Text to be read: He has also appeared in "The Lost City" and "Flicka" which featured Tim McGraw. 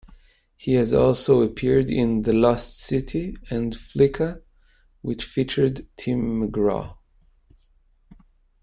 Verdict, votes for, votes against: rejected, 1, 2